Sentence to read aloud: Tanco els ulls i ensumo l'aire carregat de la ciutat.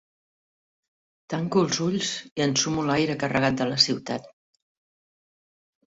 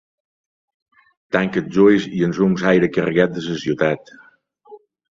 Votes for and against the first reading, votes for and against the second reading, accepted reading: 2, 0, 2, 4, first